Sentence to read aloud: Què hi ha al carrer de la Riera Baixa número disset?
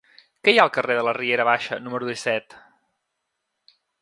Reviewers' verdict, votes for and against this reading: accepted, 3, 0